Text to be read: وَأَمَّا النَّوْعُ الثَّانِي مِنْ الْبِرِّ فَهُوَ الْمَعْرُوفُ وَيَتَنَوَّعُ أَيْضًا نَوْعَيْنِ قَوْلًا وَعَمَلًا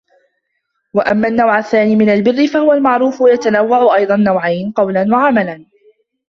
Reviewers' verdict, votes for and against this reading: rejected, 1, 2